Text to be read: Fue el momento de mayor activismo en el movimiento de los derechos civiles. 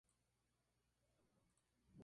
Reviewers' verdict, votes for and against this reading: rejected, 0, 2